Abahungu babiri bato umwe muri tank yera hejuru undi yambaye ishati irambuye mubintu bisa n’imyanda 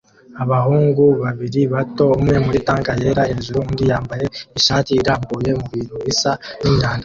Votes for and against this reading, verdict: 2, 1, accepted